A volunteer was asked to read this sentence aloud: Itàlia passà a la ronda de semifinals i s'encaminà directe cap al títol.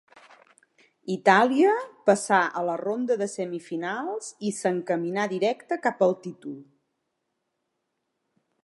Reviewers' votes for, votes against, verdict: 2, 0, accepted